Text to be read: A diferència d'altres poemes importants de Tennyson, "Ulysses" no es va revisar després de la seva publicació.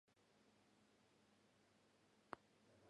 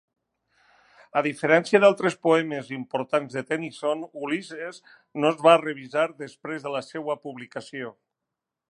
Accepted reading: second